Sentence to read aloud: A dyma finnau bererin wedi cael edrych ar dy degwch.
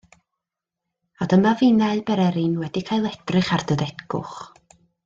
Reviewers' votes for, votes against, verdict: 2, 0, accepted